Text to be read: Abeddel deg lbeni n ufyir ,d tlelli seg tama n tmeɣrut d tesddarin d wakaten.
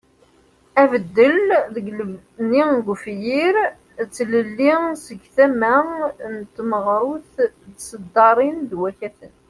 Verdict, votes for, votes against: rejected, 0, 2